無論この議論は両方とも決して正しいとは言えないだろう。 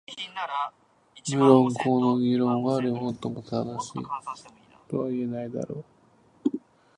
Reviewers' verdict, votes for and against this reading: rejected, 0, 2